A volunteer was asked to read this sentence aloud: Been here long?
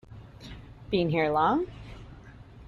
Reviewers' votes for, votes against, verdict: 2, 0, accepted